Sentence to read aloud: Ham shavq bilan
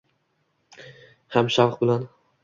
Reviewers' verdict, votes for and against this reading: accepted, 2, 0